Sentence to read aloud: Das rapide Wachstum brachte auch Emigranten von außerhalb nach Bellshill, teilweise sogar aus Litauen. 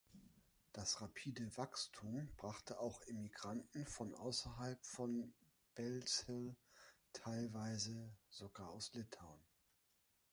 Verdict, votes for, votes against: rejected, 0, 2